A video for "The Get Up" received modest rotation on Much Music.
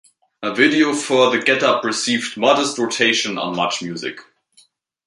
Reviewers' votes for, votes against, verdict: 2, 0, accepted